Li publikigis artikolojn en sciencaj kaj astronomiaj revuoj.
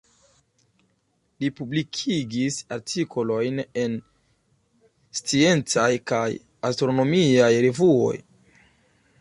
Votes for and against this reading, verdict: 3, 0, accepted